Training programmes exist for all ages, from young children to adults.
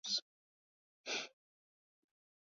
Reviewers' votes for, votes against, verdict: 0, 2, rejected